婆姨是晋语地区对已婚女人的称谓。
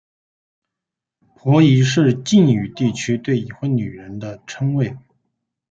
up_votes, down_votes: 4, 0